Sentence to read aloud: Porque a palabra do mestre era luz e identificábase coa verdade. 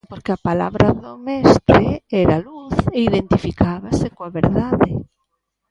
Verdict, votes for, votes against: rejected, 0, 2